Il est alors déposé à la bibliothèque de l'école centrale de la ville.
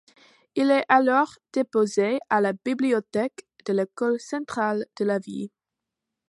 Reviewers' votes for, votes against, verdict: 0, 2, rejected